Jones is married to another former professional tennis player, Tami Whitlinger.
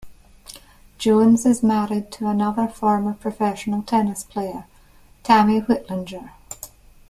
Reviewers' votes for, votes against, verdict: 2, 0, accepted